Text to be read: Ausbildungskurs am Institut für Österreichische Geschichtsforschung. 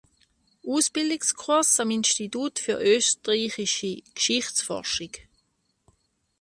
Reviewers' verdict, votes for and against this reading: rejected, 1, 3